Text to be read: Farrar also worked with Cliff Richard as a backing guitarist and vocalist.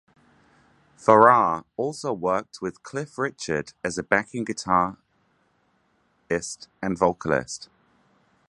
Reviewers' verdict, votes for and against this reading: rejected, 0, 3